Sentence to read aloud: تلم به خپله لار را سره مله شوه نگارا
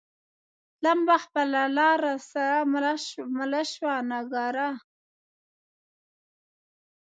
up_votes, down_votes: 0, 2